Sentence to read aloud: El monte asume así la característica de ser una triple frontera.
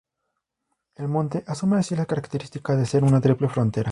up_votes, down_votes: 0, 2